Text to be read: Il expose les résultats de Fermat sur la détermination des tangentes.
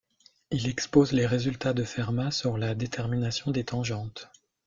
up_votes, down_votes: 2, 0